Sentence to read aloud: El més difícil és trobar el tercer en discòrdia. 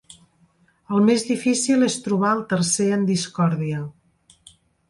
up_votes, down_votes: 2, 0